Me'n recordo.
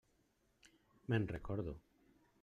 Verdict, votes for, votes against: rejected, 0, 2